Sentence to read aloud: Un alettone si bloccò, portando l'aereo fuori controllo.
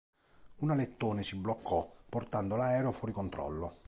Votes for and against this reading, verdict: 2, 0, accepted